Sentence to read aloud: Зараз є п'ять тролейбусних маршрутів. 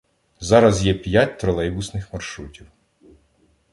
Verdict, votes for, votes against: accepted, 2, 0